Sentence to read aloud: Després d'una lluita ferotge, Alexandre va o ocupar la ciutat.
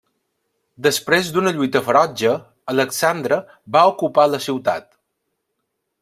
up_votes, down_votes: 2, 0